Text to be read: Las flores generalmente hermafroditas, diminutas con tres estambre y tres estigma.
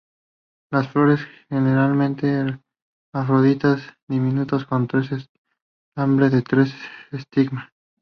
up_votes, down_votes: 0, 2